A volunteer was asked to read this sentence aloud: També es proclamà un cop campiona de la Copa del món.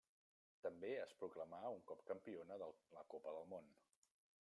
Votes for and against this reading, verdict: 0, 2, rejected